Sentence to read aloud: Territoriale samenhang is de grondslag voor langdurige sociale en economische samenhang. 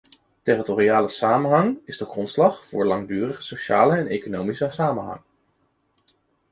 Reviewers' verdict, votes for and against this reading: accepted, 2, 0